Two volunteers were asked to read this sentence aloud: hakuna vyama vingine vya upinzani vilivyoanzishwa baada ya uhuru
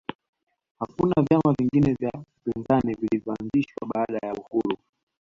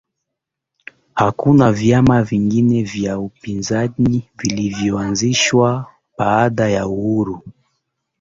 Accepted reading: first